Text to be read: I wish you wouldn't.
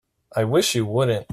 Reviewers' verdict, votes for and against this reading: accepted, 3, 0